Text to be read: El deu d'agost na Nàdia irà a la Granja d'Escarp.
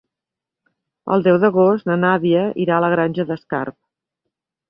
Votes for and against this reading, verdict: 3, 0, accepted